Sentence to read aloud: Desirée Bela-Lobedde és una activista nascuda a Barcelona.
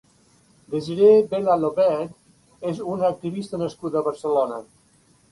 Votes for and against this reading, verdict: 2, 1, accepted